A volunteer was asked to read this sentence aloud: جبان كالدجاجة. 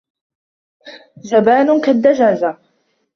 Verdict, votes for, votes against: accepted, 2, 0